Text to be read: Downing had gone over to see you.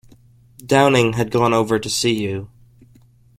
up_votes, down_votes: 2, 0